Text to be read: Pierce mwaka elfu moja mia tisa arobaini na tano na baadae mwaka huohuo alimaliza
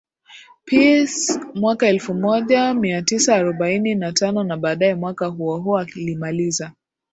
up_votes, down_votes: 2, 2